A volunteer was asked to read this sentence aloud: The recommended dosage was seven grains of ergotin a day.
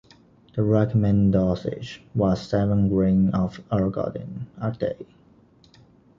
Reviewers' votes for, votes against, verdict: 1, 2, rejected